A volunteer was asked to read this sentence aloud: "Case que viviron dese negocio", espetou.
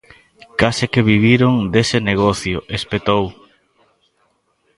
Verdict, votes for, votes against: rejected, 1, 2